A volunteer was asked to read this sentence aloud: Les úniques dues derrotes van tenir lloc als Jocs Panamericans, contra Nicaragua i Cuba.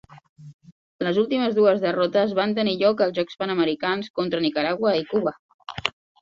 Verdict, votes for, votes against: rejected, 0, 2